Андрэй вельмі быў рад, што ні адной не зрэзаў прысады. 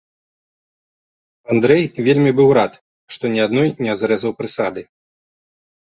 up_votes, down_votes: 3, 0